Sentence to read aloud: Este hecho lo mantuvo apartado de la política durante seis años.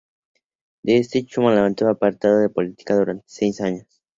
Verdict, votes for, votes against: rejected, 0, 2